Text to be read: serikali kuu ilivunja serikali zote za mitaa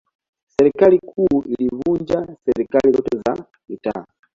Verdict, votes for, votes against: accepted, 2, 1